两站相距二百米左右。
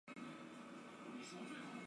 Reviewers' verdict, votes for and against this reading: rejected, 0, 2